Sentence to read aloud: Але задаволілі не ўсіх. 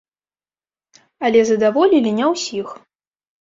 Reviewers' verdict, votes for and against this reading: rejected, 1, 2